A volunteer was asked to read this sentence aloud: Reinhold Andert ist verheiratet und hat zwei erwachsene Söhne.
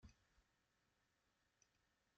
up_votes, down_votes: 0, 2